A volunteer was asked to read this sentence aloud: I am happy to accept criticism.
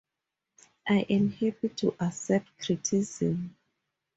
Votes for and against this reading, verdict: 2, 2, rejected